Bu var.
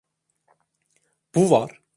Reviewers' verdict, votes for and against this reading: accepted, 2, 0